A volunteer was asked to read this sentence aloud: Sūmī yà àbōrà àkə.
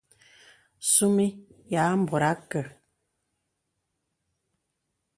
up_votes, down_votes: 2, 0